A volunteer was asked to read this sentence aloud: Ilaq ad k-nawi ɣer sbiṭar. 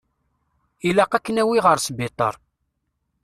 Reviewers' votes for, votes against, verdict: 2, 0, accepted